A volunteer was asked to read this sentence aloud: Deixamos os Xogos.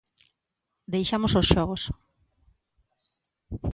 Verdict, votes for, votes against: accepted, 2, 0